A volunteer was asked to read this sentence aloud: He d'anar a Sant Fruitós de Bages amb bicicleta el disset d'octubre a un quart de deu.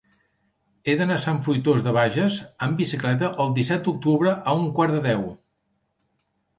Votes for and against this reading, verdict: 3, 0, accepted